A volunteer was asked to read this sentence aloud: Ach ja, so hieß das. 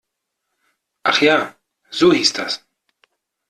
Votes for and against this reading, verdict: 2, 0, accepted